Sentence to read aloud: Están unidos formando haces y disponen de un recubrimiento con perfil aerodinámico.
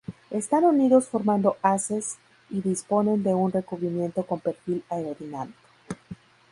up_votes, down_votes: 2, 0